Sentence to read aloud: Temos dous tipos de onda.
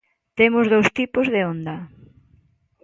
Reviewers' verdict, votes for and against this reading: accepted, 2, 0